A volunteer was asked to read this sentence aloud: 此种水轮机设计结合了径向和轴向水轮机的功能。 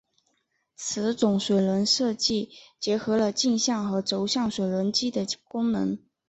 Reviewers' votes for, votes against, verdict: 2, 0, accepted